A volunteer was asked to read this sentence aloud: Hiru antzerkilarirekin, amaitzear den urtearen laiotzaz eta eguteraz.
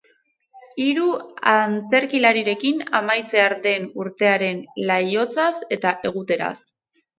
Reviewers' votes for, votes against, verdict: 2, 2, rejected